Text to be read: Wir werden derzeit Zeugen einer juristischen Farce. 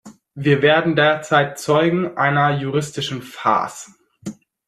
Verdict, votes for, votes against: accepted, 2, 1